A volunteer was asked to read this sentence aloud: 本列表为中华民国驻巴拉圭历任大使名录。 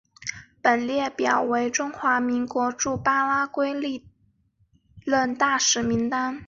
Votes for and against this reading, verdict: 0, 4, rejected